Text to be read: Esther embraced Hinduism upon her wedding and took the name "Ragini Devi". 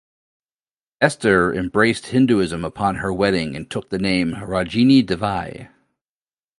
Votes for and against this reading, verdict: 2, 0, accepted